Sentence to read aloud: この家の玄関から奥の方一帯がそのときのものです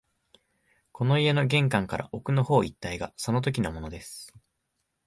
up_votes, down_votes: 2, 0